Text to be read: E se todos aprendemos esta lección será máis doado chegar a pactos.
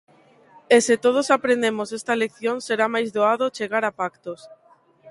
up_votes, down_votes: 2, 0